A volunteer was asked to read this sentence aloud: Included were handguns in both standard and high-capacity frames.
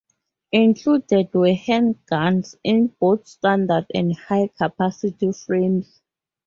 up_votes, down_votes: 4, 0